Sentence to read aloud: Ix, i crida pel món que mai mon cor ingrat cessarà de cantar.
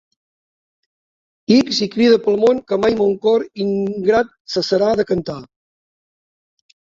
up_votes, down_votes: 0, 2